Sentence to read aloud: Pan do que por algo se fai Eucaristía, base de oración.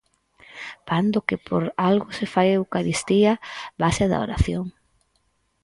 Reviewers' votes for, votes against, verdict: 2, 4, rejected